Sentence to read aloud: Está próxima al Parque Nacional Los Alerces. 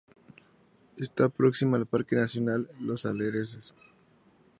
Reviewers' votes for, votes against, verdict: 0, 6, rejected